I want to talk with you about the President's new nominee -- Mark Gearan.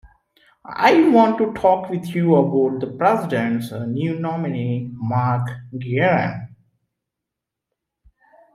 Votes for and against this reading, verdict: 2, 1, accepted